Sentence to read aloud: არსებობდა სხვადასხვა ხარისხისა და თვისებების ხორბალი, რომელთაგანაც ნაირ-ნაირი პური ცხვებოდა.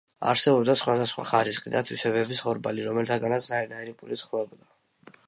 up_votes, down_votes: 2, 0